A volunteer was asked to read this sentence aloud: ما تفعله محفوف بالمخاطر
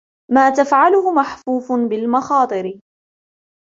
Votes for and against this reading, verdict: 2, 0, accepted